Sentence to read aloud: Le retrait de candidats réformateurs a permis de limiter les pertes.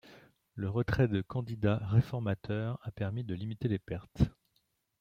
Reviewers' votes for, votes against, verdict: 2, 0, accepted